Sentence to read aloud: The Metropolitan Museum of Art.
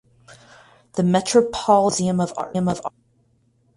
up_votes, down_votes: 0, 4